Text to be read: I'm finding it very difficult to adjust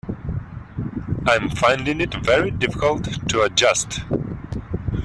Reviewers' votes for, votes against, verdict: 2, 1, accepted